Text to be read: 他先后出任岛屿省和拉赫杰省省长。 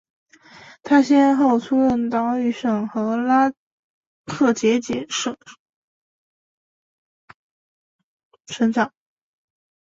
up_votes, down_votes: 0, 5